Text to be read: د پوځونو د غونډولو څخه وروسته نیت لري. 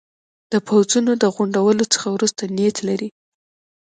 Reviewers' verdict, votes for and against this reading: rejected, 0, 2